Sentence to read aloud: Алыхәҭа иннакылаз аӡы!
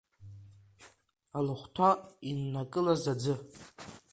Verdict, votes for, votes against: rejected, 1, 2